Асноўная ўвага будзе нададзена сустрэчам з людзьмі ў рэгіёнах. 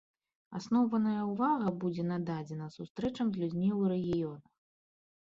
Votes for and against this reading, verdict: 2, 0, accepted